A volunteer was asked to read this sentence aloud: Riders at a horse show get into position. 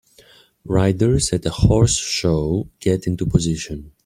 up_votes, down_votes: 2, 0